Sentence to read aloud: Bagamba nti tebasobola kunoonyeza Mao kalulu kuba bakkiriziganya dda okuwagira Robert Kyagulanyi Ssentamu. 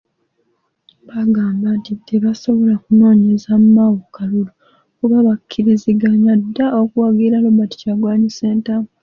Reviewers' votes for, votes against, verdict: 0, 2, rejected